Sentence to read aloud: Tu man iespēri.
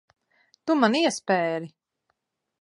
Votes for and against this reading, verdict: 2, 0, accepted